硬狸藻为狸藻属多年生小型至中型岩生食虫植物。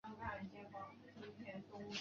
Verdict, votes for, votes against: rejected, 0, 2